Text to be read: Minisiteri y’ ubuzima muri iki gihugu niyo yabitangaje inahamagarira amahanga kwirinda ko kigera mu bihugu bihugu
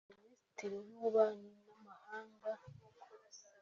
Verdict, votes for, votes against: rejected, 0, 2